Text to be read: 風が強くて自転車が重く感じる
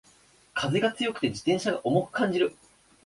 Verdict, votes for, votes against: accepted, 3, 0